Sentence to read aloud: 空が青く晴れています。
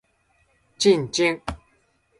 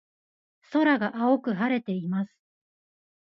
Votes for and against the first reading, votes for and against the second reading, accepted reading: 1, 2, 2, 0, second